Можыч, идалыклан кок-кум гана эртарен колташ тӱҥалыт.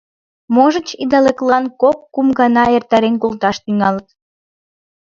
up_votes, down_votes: 2, 0